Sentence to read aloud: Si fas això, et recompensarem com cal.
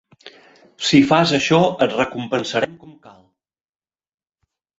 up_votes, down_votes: 1, 2